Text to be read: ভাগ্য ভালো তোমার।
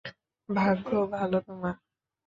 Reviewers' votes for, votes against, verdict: 2, 1, accepted